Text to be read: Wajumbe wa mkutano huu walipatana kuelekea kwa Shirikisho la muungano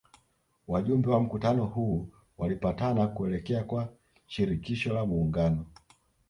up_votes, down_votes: 2, 0